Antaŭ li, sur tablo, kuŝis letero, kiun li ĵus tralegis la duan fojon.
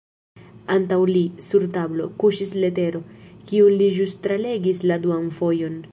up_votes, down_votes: 3, 0